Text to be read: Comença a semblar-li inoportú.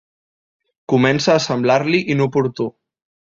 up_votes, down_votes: 2, 0